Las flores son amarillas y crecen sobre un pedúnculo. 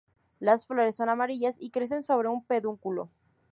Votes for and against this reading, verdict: 0, 2, rejected